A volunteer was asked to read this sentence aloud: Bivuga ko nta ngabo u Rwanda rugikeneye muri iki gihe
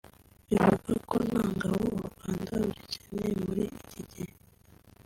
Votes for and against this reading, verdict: 2, 1, accepted